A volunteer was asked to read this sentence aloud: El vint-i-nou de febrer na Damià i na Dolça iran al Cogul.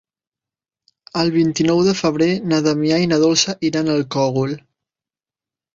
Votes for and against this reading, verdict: 0, 2, rejected